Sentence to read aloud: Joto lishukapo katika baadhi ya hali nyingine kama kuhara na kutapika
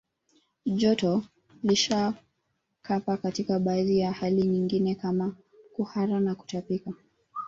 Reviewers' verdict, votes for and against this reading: rejected, 0, 2